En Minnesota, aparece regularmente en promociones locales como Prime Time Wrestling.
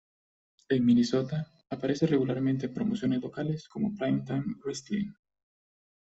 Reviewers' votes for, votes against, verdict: 2, 1, accepted